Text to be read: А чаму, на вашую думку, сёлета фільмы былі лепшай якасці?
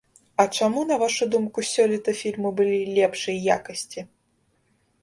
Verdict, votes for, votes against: rejected, 0, 2